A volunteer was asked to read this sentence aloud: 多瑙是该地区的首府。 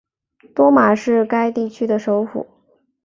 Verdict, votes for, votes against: rejected, 1, 2